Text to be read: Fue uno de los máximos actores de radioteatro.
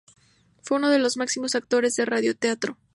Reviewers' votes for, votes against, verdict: 2, 0, accepted